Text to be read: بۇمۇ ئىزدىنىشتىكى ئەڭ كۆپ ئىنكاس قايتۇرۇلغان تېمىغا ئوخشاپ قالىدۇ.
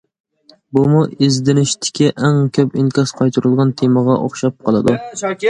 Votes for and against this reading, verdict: 2, 0, accepted